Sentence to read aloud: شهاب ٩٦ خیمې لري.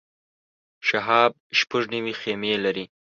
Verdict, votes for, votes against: rejected, 0, 2